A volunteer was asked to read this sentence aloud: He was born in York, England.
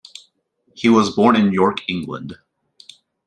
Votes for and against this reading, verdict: 2, 0, accepted